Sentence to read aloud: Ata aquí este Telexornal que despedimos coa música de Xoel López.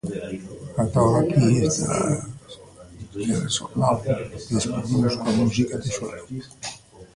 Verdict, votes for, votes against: rejected, 0, 2